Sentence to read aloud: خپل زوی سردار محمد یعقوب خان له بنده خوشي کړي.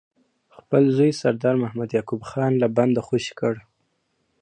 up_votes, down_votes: 0, 2